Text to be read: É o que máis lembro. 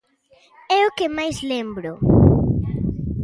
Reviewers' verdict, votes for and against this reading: accepted, 2, 0